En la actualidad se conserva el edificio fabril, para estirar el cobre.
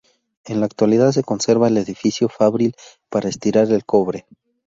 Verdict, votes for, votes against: rejected, 0, 2